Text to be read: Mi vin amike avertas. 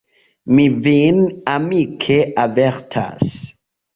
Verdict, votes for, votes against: accepted, 2, 0